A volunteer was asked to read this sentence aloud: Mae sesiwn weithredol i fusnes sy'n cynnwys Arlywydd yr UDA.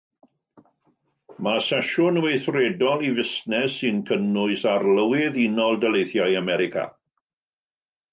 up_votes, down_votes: 0, 2